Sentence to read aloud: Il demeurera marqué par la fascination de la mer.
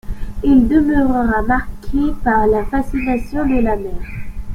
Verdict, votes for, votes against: accepted, 2, 0